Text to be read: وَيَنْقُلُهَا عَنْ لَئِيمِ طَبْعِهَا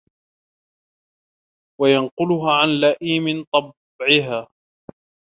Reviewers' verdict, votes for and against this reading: rejected, 1, 2